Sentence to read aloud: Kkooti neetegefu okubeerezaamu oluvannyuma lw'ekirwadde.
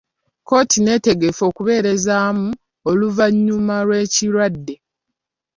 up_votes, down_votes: 3, 2